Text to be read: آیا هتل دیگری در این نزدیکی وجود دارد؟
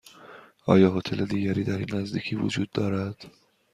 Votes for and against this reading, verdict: 2, 0, accepted